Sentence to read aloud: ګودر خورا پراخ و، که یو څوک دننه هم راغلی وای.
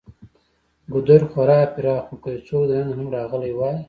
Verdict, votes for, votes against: rejected, 1, 2